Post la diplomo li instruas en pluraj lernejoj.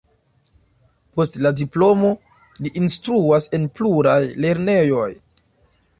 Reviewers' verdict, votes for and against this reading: accepted, 2, 0